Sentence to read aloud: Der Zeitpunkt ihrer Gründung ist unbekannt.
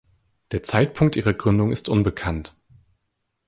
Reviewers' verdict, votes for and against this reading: accepted, 2, 0